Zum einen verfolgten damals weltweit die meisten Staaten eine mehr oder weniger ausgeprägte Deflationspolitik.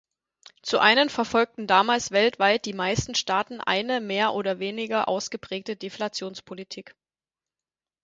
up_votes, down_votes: 0, 4